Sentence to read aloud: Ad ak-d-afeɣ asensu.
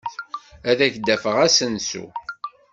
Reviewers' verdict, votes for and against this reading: accepted, 2, 0